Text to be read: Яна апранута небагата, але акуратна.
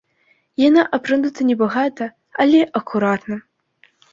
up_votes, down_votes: 2, 0